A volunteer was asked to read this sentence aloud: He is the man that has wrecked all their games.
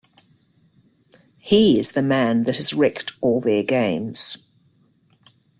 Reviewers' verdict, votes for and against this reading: accepted, 2, 0